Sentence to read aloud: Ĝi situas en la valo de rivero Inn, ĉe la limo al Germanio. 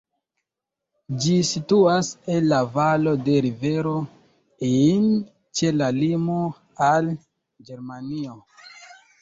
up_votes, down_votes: 1, 2